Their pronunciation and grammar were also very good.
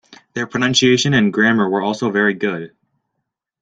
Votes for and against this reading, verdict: 2, 0, accepted